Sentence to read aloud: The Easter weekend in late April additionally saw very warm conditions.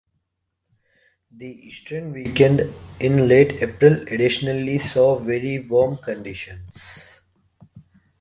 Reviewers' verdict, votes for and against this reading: rejected, 1, 2